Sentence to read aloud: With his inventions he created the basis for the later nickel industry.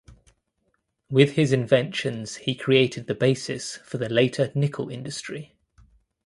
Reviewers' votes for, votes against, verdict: 2, 0, accepted